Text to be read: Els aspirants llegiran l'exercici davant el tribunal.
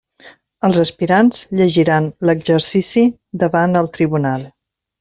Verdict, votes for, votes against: accepted, 3, 0